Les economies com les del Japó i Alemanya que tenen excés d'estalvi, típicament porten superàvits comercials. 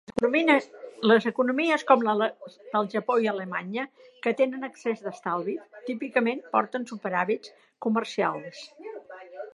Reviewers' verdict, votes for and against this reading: rejected, 0, 2